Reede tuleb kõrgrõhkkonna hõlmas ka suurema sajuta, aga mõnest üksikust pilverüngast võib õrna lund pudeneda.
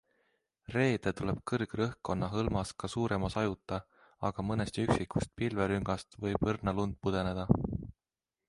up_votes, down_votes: 2, 1